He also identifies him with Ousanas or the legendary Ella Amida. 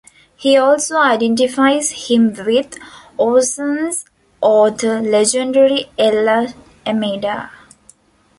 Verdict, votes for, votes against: rejected, 0, 2